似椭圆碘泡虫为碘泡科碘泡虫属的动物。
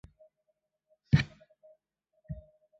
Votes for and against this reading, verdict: 0, 2, rejected